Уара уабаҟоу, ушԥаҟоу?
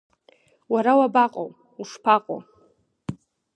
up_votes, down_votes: 5, 0